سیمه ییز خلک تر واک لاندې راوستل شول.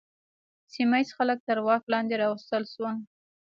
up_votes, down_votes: 0, 2